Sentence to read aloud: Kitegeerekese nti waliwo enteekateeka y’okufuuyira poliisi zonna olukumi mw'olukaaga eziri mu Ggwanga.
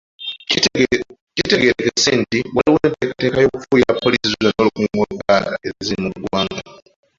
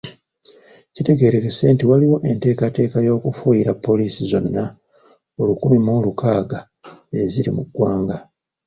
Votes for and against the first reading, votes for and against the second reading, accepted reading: 0, 2, 2, 0, second